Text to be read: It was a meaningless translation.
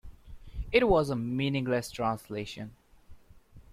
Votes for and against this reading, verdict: 2, 0, accepted